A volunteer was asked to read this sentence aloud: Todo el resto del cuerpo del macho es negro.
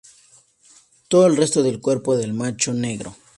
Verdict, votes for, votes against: rejected, 0, 2